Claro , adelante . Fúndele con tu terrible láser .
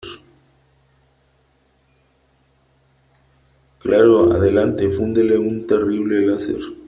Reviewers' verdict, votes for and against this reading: rejected, 0, 2